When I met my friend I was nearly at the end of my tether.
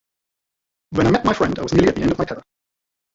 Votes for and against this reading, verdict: 0, 2, rejected